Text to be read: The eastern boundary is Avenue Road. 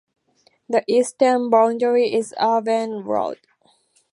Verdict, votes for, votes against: rejected, 0, 2